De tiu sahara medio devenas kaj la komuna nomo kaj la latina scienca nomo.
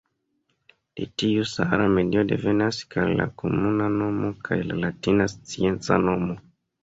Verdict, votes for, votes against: accepted, 2, 1